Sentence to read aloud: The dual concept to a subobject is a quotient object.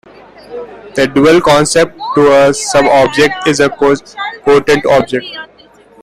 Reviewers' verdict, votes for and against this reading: rejected, 0, 2